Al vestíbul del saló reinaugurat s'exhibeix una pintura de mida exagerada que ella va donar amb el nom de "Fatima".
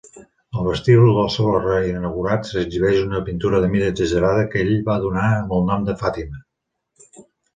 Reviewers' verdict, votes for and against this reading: rejected, 0, 2